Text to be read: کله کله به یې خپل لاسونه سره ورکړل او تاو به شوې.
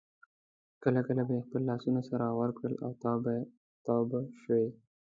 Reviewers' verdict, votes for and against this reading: rejected, 0, 2